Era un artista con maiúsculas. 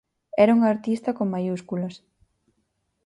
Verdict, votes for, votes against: accepted, 4, 0